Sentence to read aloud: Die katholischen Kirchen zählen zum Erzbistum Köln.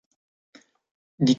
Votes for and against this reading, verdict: 0, 2, rejected